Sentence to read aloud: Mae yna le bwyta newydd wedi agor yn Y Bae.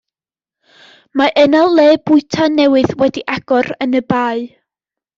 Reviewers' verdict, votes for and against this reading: accepted, 2, 0